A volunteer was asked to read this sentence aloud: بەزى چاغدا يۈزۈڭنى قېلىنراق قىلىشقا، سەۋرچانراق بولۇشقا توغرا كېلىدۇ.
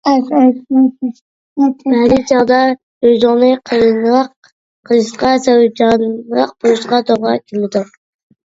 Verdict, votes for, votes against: rejected, 0, 2